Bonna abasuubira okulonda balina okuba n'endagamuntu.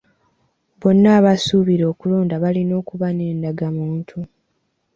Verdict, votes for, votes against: accepted, 2, 0